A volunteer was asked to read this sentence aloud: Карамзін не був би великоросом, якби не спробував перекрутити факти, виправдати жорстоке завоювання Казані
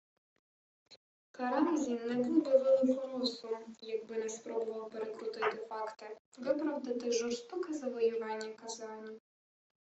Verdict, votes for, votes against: rejected, 1, 2